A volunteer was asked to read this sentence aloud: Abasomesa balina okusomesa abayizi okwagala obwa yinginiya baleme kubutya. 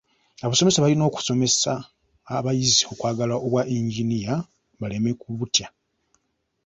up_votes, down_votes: 2, 0